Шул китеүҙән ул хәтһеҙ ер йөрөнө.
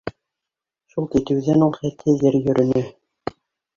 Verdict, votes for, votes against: accepted, 2, 1